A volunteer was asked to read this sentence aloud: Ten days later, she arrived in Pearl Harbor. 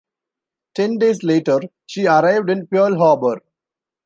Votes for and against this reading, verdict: 2, 0, accepted